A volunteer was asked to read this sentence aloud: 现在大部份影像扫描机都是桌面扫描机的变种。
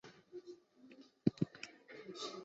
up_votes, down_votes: 0, 2